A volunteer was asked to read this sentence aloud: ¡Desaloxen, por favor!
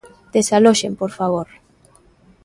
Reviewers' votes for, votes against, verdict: 2, 0, accepted